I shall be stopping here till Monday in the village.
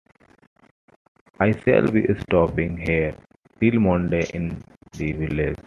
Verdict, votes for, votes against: rejected, 1, 2